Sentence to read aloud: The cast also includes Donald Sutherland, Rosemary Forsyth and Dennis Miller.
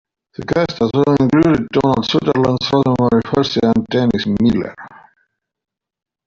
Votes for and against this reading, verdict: 1, 2, rejected